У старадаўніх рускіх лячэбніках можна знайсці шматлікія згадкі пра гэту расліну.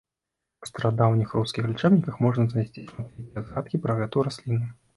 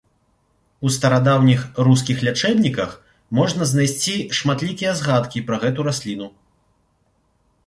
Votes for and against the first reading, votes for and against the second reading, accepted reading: 1, 2, 2, 0, second